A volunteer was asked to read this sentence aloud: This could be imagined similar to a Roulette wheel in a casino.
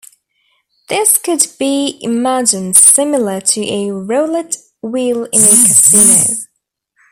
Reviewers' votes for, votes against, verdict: 0, 2, rejected